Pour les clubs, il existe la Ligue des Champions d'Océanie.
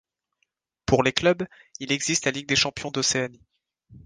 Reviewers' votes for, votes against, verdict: 1, 2, rejected